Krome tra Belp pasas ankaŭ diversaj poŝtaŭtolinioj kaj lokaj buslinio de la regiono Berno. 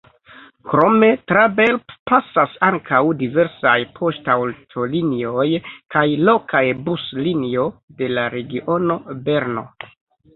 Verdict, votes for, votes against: rejected, 1, 3